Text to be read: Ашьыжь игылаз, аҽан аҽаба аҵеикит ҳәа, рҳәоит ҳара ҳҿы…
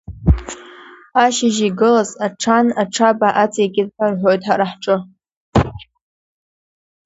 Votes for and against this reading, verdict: 2, 1, accepted